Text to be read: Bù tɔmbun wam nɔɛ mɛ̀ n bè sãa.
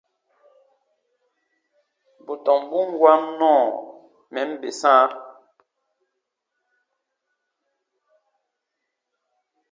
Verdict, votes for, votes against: rejected, 0, 2